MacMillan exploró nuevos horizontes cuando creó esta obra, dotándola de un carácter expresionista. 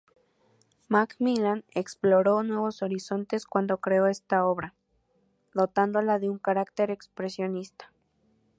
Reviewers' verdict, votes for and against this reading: accepted, 2, 0